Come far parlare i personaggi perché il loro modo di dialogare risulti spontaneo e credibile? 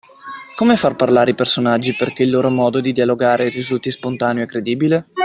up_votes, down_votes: 2, 0